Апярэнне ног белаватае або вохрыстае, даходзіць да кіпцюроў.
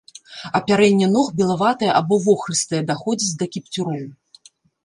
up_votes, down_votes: 1, 2